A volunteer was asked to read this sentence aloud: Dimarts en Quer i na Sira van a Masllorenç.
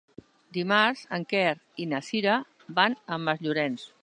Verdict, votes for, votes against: accepted, 4, 0